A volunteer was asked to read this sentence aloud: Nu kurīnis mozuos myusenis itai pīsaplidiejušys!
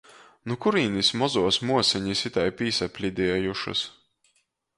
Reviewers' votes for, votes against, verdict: 0, 2, rejected